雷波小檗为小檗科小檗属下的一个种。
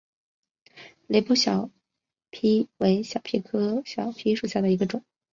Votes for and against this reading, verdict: 2, 0, accepted